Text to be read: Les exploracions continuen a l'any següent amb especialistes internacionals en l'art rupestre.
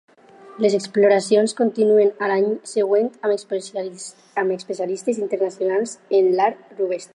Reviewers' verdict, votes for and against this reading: rejected, 0, 4